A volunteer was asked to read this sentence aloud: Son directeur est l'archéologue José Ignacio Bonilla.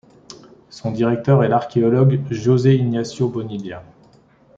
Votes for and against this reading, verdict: 0, 3, rejected